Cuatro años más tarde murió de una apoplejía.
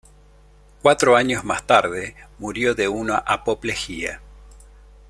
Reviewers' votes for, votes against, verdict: 2, 0, accepted